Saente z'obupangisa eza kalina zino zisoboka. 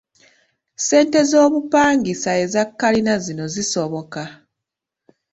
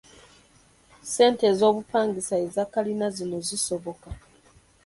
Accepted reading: first